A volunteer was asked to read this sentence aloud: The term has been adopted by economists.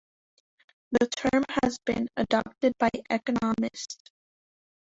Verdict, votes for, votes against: rejected, 1, 3